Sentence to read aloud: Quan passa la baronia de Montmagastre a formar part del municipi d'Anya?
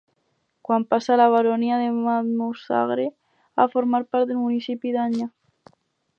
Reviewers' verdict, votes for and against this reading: rejected, 2, 2